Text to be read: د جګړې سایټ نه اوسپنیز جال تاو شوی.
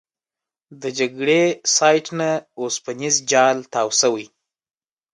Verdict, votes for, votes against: accepted, 2, 0